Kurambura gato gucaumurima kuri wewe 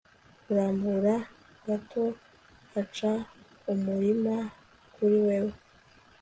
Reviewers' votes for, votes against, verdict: 2, 0, accepted